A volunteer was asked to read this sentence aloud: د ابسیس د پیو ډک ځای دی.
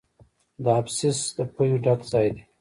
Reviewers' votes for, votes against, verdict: 1, 2, rejected